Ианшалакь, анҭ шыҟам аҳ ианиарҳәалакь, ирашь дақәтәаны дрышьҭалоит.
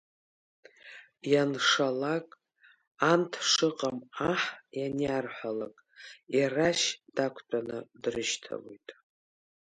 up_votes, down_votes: 0, 2